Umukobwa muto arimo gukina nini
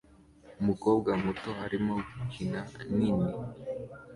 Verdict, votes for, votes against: accepted, 2, 1